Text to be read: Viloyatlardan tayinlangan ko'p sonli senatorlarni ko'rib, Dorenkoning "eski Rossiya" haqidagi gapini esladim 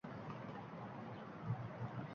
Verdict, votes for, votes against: rejected, 0, 2